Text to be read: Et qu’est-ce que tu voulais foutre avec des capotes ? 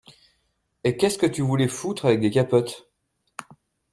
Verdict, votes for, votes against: accepted, 2, 0